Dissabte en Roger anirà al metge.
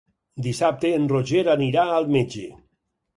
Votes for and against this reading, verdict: 6, 0, accepted